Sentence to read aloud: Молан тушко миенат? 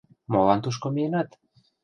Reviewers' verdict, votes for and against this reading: accepted, 2, 0